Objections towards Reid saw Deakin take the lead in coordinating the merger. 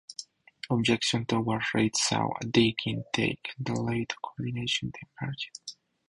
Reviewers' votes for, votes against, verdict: 0, 4, rejected